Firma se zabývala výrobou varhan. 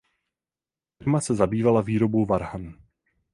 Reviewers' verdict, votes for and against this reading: rejected, 0, 4